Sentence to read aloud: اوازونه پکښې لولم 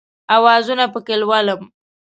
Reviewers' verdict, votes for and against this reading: accepted, 2, 0